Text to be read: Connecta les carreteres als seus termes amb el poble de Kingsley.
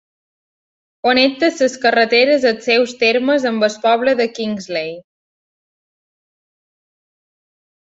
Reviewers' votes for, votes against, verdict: 0, 2, rejected